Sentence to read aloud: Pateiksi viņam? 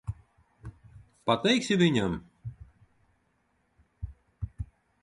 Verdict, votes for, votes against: accepted, 2, 0